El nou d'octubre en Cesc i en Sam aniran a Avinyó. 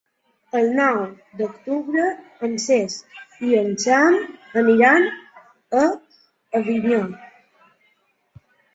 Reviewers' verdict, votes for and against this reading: rejected, 1, 2